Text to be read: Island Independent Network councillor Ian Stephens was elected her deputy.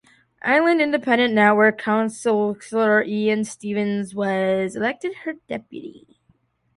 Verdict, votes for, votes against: accepted, 2, 0